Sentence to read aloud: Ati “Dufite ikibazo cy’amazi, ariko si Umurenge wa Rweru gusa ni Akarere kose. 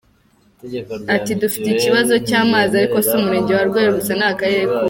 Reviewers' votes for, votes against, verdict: 2, 0, accepted